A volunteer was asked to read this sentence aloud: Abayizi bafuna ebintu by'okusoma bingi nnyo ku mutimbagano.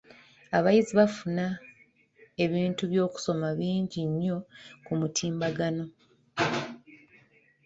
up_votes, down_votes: 0, 2